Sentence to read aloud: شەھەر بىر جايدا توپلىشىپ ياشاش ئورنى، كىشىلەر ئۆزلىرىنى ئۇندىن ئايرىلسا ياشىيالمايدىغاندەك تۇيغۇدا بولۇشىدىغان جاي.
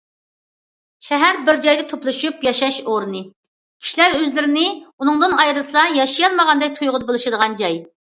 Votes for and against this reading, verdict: 1, 2, rejected